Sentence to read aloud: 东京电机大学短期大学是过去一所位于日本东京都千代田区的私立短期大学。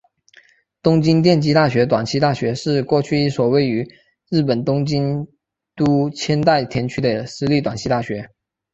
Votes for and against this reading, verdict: 0, 2, rejected